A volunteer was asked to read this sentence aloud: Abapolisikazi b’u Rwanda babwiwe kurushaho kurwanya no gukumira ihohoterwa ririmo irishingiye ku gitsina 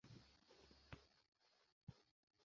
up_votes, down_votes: 0, 2